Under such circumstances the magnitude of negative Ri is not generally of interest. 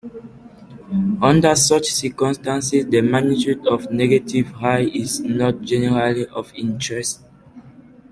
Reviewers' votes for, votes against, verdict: 2, 0, accepted